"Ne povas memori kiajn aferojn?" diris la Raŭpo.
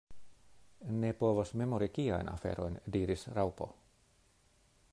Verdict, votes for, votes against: rejected, 0, 2